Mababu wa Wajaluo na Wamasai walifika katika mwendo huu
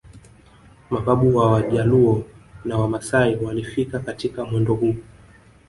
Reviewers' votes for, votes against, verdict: 2, 1, accepted